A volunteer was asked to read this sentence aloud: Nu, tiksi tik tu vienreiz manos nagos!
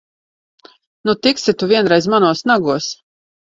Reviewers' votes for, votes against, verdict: 0, 2, rejected